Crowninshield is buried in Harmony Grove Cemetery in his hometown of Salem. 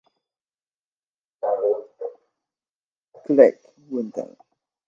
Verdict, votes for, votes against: rejected, 0, 2